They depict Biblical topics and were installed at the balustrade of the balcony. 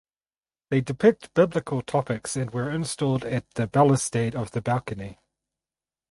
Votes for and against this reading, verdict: 2, 2, rejected